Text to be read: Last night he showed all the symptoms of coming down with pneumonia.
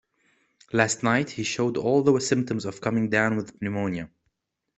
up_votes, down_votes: 2, 1